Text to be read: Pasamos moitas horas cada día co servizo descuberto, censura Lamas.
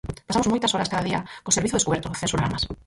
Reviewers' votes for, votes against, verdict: 0, 4, rejected